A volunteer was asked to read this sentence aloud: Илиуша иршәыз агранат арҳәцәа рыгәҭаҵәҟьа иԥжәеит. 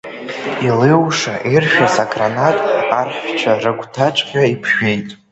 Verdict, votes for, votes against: rejected, 1, 2